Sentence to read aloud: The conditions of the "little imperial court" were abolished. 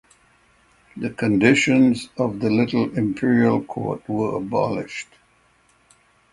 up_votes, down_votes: 6, 0